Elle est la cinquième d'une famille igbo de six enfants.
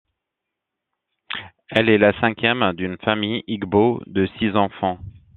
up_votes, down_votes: 2, 0